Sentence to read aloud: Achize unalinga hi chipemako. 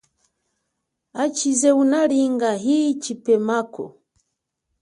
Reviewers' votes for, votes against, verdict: 2, 1, accepted